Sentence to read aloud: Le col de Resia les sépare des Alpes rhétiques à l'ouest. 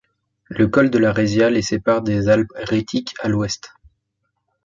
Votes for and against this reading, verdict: 1, 2, rejected